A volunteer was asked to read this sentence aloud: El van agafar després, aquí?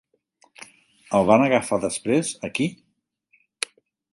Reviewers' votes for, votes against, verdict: 3, 1, accepted